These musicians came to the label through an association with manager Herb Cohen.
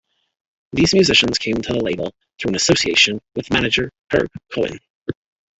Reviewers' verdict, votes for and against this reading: accepted, 3, 2